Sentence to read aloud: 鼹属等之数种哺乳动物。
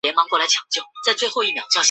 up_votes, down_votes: 1, 2